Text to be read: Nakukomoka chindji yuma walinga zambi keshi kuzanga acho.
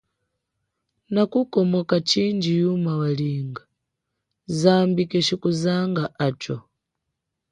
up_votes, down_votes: 2, 0